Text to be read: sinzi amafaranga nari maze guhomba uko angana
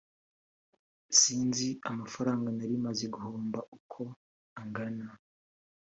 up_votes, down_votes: 0, 2